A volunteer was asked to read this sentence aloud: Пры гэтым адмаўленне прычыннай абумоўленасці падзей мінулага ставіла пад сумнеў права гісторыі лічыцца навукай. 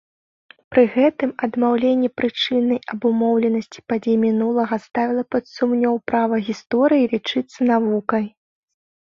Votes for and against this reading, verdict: 2, 1, accepted